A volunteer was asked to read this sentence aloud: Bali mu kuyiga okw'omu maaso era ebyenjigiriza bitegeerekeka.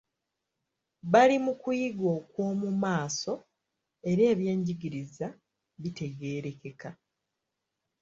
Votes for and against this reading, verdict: 2, 0, accepted